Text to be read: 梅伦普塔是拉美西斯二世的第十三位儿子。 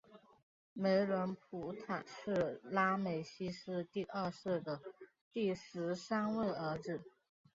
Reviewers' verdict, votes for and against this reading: rejected, 1, 3